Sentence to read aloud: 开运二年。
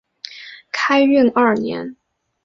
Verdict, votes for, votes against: accepted, 2, 0